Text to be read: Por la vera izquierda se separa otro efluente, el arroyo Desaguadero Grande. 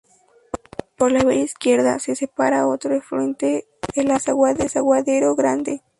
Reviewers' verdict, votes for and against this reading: rejected, 0, 4